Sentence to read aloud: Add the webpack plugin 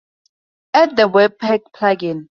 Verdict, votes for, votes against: rejected, 0, 2